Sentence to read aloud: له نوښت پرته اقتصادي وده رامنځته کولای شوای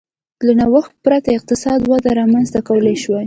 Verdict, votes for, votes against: accepted, 2, 0